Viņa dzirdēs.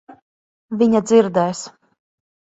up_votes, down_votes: 2, 0